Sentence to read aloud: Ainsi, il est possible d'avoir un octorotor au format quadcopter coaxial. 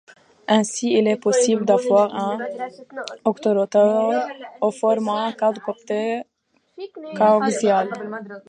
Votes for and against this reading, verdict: 0, 2, rejected